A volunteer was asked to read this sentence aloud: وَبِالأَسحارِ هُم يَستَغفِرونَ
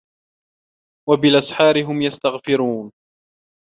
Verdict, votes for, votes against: accepted, 2, 0